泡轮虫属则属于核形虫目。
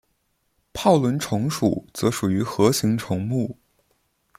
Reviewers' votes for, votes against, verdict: 1, 2, rejected